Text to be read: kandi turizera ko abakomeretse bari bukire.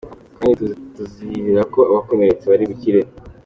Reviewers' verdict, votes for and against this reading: accepted, 2, 1